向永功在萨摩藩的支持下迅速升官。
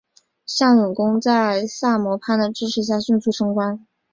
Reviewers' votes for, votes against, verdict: 6, 0, accepted